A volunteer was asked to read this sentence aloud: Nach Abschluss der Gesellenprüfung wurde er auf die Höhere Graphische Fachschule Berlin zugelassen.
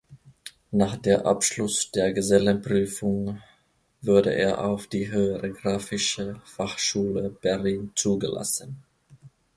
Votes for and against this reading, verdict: 0, 2, rejected